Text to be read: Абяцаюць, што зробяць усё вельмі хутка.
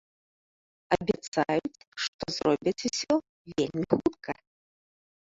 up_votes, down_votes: 1, 3